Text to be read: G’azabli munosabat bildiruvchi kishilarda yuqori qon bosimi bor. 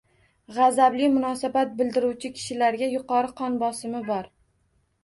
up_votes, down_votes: 1, 2